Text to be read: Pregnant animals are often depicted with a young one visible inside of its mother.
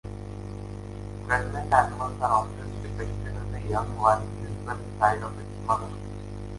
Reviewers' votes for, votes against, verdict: 2, 1, accepted